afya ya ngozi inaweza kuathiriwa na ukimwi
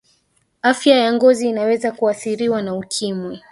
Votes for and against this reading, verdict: 1, 2, rejected